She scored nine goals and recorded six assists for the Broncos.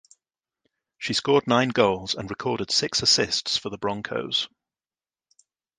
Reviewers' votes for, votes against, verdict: 2, 0, accepted